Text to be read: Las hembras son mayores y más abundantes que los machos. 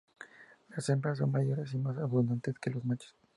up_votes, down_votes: 0, 2